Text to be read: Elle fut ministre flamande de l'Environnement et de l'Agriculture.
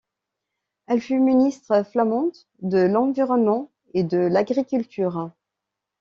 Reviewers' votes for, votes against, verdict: 2, 0, accepted